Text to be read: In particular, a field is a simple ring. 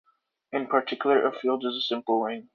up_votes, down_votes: 2, 0